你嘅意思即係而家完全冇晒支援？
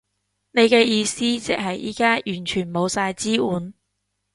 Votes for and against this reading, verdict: 1, 2, rejected